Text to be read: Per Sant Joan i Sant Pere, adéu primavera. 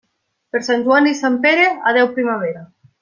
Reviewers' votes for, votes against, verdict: 3, 0, accepted